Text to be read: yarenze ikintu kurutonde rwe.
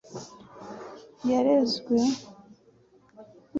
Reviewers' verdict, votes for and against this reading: rejected, 1, 2